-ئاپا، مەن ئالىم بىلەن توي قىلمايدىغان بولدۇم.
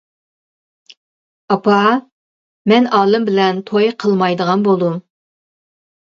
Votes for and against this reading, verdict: 2, 0, accepted